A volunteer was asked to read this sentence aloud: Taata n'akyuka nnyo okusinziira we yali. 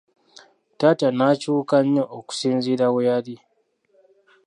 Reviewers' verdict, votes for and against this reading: accepted, 2, 0